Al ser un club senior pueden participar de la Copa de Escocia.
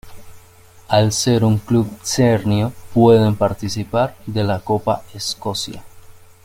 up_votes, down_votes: 1, 2